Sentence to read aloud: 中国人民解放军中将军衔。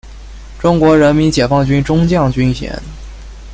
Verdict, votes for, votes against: accepted, 2, 0